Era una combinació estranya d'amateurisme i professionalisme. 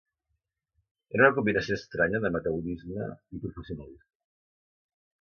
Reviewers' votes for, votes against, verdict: 0, 2, rejected